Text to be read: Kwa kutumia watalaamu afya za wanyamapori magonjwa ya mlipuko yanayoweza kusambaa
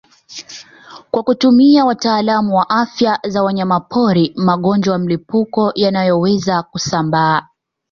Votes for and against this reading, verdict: 2, 0, accepted